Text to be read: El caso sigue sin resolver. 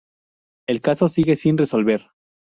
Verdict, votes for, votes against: accepted, 2, 0